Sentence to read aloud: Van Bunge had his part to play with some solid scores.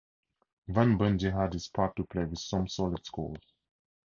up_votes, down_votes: 4, 0